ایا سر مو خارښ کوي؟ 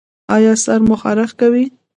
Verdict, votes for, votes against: rejected, 0, 2